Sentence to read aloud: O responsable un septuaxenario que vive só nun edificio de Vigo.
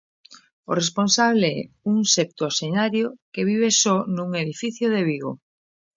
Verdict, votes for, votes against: accepted, 2, 0